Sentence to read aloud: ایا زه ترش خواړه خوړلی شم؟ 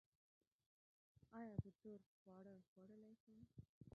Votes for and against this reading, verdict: 1, 2, rejected